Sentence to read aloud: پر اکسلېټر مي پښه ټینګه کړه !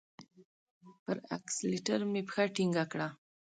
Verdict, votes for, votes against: rejected, 1, 2